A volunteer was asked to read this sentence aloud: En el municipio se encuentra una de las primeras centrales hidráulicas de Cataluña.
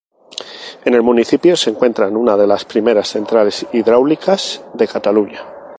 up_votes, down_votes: 0, 2